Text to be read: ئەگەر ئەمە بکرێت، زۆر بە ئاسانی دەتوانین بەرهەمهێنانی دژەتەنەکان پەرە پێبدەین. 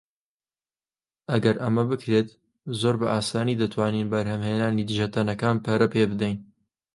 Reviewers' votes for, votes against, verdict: 2, 0, accepted